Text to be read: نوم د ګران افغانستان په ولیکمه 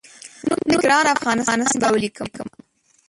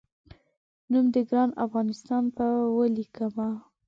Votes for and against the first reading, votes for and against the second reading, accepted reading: 0, 2, 2, 0, second